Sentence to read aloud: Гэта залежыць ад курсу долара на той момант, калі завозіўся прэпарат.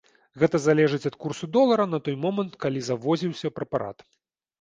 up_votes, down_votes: 2, 0